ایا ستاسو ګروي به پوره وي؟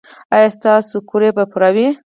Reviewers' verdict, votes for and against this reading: rejected, 0, 4